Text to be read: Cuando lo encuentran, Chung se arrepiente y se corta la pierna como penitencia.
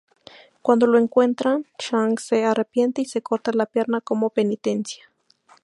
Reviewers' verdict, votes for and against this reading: accepted, 2, 0